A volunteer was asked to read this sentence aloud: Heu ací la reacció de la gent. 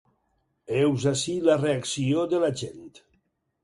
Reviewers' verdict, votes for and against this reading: rejected, 0, 6